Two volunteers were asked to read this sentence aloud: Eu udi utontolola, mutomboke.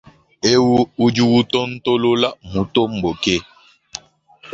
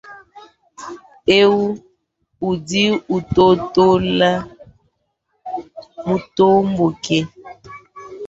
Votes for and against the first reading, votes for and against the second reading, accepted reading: 2, 0, 0, 3, first